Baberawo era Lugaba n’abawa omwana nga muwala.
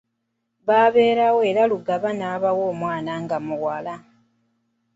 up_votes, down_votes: 2, 0